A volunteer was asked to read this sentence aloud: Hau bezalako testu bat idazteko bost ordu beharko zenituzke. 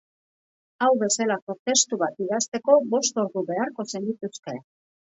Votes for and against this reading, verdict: 0, 2, rejected